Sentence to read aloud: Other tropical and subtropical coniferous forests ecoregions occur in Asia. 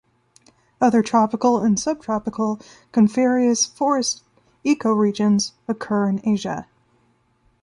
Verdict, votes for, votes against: rejected, 1, 2